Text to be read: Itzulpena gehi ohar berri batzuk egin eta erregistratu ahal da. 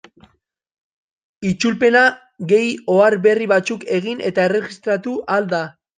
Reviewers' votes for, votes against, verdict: 1, 2, rejected